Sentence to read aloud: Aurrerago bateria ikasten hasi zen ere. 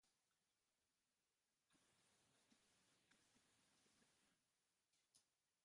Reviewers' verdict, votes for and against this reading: rejected, 0, 2